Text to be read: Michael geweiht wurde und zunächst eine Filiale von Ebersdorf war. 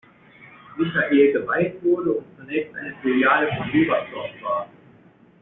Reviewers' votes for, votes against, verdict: 0, 2, rejected